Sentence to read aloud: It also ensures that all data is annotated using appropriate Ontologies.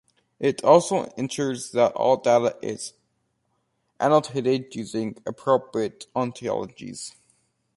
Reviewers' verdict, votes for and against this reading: rejected, 0, 2